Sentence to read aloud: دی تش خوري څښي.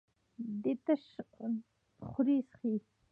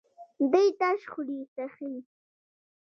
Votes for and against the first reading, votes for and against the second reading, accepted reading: 1, 2, 2, 0, second